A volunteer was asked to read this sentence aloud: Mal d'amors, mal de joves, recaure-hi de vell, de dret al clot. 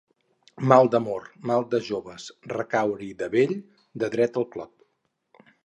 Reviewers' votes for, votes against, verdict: 0, 2, rejected